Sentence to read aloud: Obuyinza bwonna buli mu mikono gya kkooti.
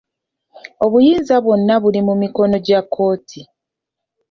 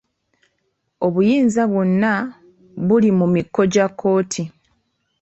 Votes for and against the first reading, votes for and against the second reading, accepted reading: 2, 0, 0, 2, first